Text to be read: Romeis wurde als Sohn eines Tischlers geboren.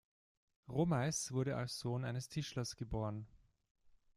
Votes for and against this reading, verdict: 2, 0, accepted